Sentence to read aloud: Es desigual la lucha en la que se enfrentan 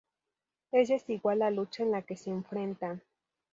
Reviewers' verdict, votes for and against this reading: accepted, 4, 0